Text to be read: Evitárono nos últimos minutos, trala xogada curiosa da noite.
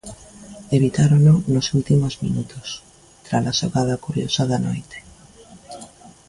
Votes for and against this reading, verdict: 3, 0, accepted